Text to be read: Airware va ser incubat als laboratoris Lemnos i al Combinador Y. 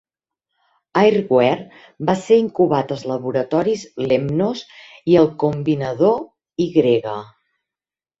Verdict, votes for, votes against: accepted, 2, 0